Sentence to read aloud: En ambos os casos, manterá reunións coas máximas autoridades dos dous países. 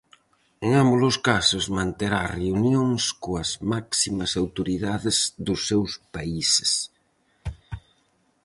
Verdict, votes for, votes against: rejected, 0, 4